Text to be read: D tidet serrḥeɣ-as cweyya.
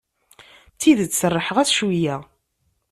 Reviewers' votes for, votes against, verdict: 2, 0, accepted